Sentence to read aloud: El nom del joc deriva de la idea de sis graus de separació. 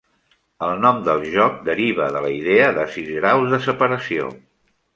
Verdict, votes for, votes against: accepted, 2, 0